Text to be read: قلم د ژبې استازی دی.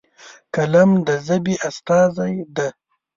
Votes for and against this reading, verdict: 0, 2, rejected